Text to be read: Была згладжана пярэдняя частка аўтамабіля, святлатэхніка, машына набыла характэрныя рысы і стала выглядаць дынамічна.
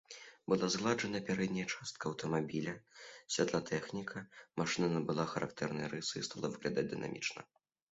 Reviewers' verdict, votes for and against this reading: accepted, 3, 0